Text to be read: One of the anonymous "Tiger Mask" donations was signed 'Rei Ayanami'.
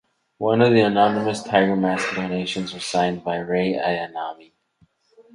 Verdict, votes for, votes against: accepted, 4, 0